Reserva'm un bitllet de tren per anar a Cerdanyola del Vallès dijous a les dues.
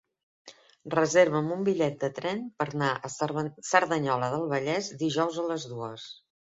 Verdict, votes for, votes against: rejected, 0, 2